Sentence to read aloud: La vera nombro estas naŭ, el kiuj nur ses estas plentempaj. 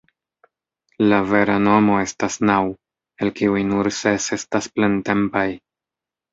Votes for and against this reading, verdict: 0, 2, rejected